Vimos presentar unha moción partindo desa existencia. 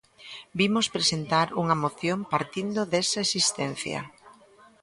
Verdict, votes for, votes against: accepted, 2, 0